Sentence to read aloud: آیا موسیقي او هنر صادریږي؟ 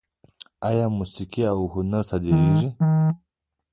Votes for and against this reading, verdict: 0, 2, rejected